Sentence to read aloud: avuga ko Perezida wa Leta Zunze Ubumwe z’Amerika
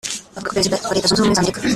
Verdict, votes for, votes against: rejected, 0, 2